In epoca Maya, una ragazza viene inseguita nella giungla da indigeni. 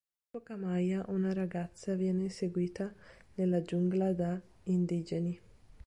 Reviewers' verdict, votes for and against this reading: rejected, 1, 2